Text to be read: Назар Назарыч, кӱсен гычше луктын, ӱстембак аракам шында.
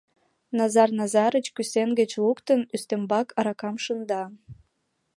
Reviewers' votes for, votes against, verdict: 2, 0, accepted